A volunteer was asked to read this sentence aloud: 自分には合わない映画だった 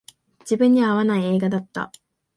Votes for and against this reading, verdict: 2, 0, accepted